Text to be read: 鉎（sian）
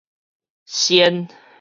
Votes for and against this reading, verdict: 4, 0, accepted